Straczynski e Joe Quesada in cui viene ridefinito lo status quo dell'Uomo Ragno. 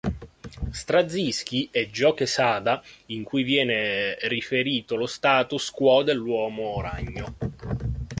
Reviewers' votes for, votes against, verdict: 0, 2, rejected